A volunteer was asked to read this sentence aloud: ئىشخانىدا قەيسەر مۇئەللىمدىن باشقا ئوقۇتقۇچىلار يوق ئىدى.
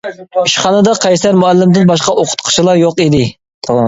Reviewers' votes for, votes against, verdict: 2, 0, accepted